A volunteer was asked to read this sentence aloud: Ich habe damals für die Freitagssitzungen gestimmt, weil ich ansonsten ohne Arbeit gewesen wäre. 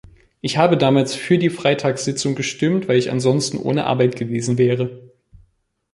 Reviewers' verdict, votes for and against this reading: rejected, 0, 2